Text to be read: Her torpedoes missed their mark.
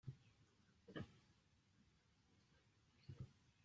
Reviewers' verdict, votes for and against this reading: rejected, 0, 2